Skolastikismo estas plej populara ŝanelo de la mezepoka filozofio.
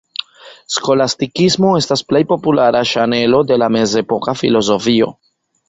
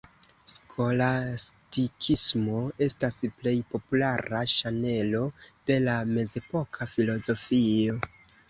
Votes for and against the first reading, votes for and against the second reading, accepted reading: 2, 1, 1, 2, first